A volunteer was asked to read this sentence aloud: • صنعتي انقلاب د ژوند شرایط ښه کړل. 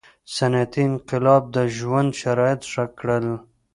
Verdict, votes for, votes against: rejected, 0, 2